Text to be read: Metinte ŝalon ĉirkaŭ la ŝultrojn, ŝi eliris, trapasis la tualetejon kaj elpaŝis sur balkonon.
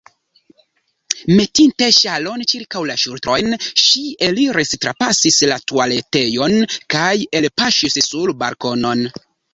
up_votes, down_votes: 0, 2